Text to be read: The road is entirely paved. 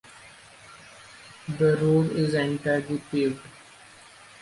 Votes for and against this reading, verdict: 2, 0, accepted